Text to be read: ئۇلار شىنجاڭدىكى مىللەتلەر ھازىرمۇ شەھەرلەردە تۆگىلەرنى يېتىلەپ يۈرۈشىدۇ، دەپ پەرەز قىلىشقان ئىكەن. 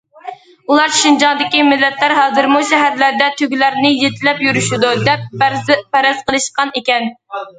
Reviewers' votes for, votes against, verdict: 1, 2, rejected